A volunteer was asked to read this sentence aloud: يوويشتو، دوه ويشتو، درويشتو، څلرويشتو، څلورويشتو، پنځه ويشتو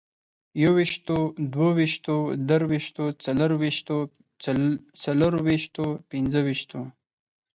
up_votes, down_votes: 4, 6